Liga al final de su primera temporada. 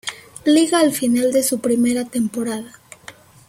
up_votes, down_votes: 1, 2